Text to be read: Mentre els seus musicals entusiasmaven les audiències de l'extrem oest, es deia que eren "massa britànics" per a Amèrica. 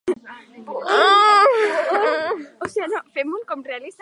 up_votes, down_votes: 0, 2